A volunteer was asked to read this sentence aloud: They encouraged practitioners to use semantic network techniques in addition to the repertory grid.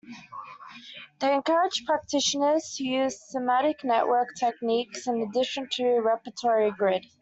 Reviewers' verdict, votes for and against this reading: rejected, 1, 2